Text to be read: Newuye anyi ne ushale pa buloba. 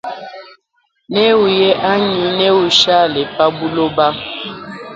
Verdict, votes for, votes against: rejected, 1, 2